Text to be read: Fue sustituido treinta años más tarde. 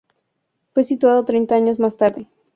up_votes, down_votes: 0, 2